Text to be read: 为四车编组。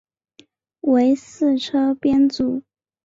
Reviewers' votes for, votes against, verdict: 2, 0, accepted